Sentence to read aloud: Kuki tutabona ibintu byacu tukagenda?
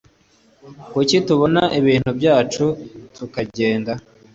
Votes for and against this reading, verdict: 2, 0, accepted